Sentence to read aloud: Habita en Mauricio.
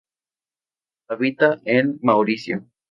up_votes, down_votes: 2, 0